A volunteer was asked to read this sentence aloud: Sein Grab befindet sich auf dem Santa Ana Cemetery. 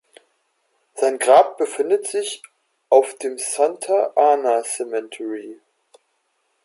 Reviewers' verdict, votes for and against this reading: accepted, 2, 0